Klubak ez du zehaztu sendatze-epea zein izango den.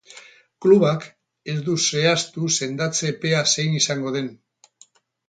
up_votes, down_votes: 2, 2